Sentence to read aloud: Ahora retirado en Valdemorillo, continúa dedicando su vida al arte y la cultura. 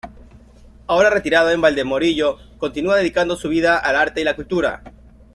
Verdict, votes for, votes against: accepted, 2, 0